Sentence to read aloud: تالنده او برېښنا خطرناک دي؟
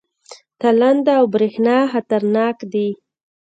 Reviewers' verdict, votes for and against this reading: rejected, 1, 2